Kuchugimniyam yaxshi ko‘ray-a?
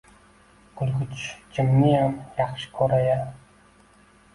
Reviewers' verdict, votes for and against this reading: rejected, 1, 2